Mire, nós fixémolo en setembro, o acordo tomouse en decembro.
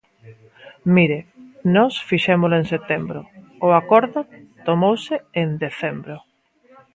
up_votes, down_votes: 1, 2